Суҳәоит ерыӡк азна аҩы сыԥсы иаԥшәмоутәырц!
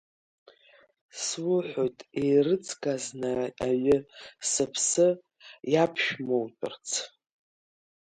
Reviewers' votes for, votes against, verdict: 0, 2, rejected